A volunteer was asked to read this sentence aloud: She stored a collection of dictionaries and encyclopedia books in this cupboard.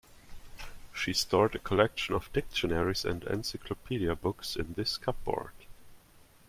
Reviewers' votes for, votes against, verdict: 2, 0, accepted